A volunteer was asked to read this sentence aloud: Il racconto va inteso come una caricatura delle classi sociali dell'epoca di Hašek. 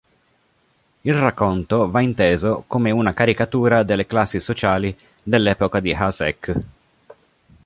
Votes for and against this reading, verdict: 3, 0, accepted